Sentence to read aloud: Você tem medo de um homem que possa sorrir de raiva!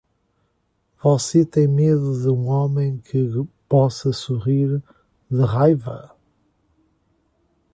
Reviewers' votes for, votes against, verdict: 2, 1, accepted